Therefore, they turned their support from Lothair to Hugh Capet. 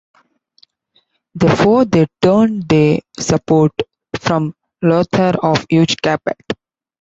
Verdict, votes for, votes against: rejected, 1, 3